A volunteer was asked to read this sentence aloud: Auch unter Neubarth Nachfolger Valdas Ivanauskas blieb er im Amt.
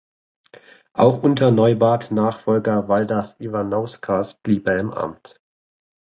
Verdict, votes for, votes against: accepted, 2, 0